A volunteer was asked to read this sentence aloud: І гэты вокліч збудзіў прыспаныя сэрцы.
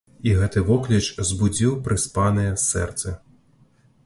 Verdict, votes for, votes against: accepted, 2, 0